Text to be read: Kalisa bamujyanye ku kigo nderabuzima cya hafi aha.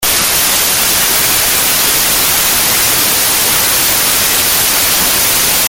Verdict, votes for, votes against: rejected, 0, 2